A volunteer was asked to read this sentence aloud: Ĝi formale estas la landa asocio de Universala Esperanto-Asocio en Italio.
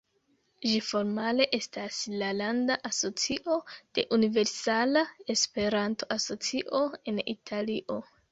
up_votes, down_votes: 2, 1